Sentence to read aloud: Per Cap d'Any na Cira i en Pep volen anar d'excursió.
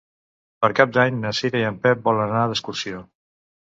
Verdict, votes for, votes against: accepted, 2, 0